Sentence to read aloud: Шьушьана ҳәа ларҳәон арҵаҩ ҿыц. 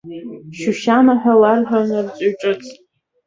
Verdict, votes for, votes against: rejected, 1, 2